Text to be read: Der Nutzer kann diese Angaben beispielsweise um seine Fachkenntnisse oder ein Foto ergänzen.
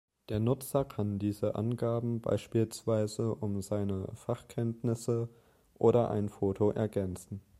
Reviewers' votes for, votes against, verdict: 2, 0, accepted